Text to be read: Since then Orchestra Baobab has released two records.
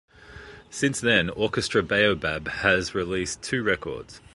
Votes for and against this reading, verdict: 2, 0, accepted